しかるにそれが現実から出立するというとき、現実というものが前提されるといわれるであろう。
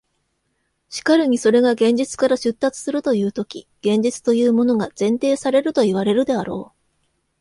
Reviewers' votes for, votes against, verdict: 2, 1, accepted